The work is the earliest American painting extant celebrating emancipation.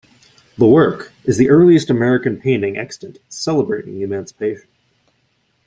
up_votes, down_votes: 0, 2